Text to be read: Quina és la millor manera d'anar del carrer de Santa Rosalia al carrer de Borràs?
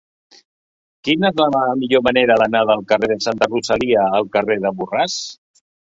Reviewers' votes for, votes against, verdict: 2, 3, rejected